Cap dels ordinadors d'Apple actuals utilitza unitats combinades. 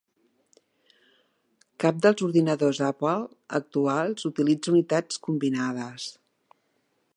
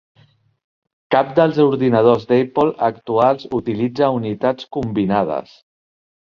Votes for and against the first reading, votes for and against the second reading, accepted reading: 2, 0, 1, 2, first